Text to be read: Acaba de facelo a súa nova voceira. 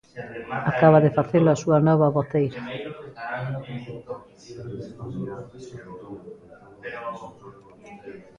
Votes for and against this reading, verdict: 1, 2, rejected